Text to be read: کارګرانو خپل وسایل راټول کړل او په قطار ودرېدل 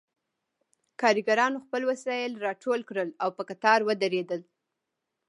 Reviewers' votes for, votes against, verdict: 2, 0, accepted